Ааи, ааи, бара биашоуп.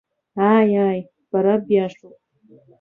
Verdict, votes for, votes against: accepted, 3, 1